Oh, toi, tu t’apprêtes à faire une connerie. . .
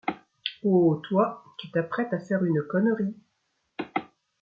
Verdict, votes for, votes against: accepted, 2, 0